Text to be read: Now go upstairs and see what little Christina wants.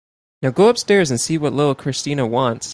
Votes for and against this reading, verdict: 2, 0, accepted